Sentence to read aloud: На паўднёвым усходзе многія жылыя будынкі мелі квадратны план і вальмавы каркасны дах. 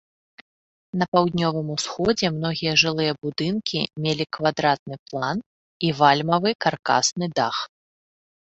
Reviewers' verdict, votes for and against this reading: accepted, 2, 0